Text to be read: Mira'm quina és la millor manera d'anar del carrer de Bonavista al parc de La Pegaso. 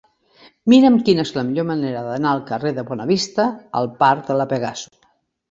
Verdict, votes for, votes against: accepted, 2, 1